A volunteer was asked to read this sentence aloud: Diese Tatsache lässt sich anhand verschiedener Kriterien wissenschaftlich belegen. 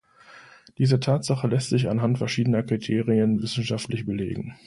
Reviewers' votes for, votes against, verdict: 2, 0, accepted